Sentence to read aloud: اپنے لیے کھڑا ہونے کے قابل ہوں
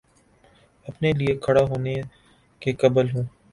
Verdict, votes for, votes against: rejected, 0, 2